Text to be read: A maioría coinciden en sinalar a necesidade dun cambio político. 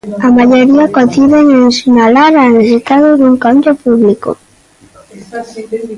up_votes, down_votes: 0, 2